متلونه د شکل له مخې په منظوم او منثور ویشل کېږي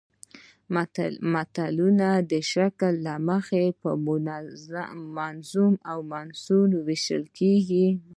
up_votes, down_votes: 0, 2